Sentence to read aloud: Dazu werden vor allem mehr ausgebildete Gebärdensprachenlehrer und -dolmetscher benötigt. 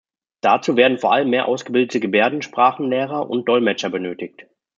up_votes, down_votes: 2, 0